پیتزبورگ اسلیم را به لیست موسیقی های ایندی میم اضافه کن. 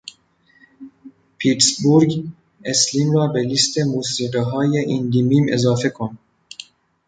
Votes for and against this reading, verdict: 1, 2, rejected